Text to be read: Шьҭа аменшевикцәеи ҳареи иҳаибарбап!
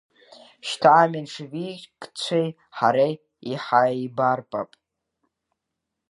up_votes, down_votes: 1, 2